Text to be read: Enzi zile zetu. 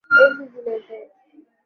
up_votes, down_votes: 1, 2